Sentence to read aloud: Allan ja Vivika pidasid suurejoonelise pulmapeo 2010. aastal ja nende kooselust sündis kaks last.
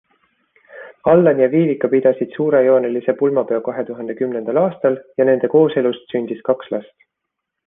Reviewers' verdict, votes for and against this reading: rejected, 0, 2